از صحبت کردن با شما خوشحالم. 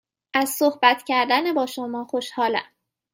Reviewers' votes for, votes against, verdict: 2, 0, accepted